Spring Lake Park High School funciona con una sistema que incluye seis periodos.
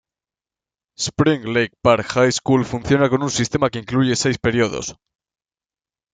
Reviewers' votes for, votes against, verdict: 2, 0, accepted